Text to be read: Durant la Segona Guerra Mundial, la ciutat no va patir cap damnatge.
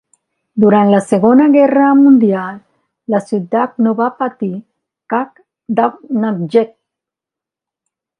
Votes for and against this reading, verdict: 2, 1, accepted